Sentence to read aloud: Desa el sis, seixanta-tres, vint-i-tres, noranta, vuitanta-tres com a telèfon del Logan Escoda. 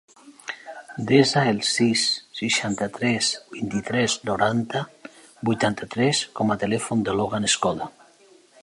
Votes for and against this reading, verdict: 0, 2, rejected